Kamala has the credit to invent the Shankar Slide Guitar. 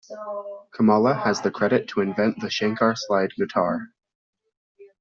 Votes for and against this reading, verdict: 1, 2, rejected